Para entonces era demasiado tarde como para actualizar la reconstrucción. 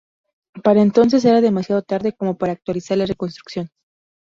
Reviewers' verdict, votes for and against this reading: accepted, 2, 0